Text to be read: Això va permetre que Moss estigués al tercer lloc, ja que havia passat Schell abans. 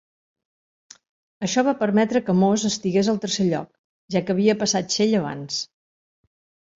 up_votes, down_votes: 2, 0